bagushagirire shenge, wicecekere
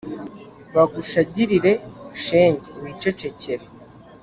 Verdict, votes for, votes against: accepted, 2, 0